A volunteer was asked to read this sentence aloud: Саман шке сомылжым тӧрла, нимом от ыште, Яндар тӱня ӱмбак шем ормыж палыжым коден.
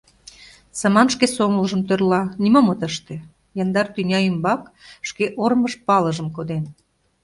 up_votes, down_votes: 0, 2